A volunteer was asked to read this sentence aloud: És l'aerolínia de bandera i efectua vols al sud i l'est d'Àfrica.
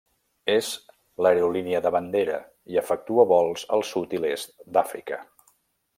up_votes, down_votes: 3, 0